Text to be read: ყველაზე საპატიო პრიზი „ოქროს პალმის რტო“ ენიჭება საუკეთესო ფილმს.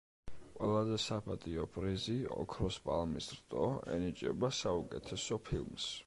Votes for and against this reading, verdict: 2, 0, accepted